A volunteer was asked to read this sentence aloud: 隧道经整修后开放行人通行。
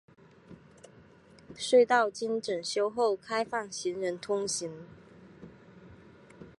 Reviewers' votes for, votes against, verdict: 2, 2, rejected